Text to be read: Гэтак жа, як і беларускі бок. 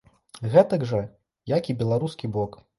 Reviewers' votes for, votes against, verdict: 2, 0, accepted